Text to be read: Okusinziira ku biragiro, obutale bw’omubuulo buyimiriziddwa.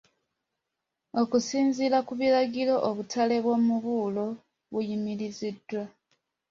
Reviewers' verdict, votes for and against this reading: accepted, 2, 0